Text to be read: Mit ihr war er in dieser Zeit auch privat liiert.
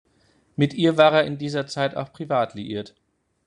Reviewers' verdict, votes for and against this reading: accepted, 3, 0